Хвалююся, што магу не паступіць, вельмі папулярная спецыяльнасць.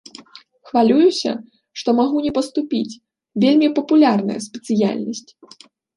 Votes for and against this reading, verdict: 2, 0, accepted